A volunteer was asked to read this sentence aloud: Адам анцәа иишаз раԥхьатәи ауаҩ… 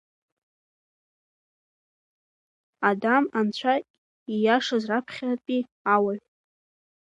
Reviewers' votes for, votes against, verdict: 0, 2, rejected